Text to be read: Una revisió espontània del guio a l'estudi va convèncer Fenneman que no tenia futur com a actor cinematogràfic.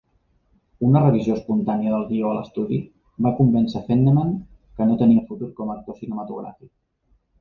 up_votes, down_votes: 1, 2